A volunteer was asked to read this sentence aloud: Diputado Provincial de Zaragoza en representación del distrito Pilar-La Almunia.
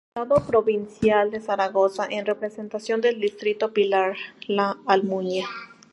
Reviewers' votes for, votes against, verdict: 0, 2, rejected